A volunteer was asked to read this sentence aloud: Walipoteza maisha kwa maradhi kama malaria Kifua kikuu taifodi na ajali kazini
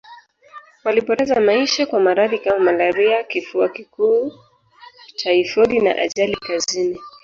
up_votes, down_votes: 1, 2